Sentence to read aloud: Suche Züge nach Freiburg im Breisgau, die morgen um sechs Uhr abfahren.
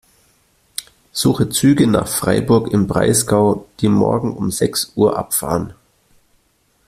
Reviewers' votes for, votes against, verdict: 2, 0, accepted